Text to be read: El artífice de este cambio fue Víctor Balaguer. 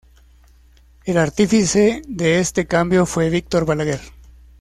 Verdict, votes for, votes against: accepted, 2, 0